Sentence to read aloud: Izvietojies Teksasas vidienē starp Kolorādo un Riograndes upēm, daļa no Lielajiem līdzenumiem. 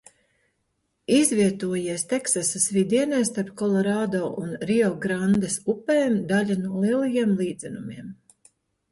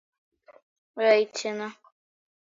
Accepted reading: first